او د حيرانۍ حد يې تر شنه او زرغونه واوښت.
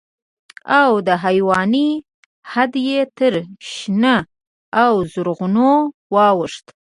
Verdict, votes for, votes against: accepted, 2, 1